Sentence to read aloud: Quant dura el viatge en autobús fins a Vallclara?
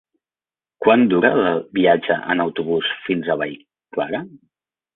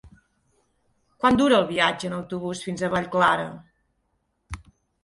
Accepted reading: second